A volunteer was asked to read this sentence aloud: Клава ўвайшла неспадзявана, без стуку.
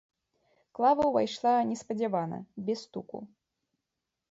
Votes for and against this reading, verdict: 0, 2, rejected